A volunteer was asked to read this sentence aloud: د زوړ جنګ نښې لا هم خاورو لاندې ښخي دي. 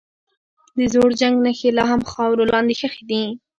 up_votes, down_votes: 1, 3